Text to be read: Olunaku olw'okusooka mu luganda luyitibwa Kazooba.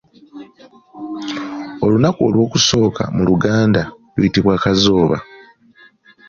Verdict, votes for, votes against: accepted, 2, 0